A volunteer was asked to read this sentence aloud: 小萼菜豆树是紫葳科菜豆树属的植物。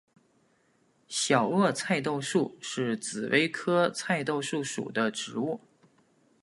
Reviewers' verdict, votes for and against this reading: accepted, 2, 1